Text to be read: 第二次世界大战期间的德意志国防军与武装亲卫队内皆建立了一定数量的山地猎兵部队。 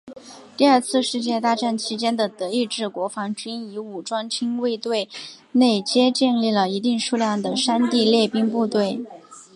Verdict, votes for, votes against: accepted, 3, 0